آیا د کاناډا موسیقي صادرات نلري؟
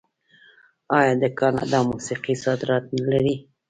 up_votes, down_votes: 2, 0